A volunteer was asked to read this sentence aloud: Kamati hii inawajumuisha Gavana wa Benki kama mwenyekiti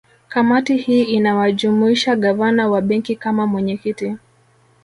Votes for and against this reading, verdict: 2, 0, accepted